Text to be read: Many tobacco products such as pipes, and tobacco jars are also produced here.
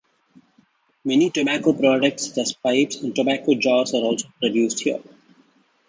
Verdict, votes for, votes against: rejected, 0, 2